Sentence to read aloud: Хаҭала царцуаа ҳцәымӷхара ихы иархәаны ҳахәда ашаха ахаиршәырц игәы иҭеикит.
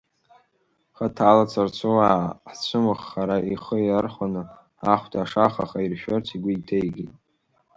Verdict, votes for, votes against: accepted, 2, 1